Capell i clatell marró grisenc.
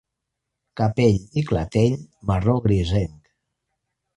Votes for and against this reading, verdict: 2, 1, accepted